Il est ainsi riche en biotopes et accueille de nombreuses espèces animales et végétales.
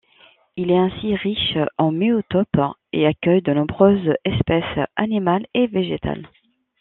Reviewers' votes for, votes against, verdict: 1, 2, rejected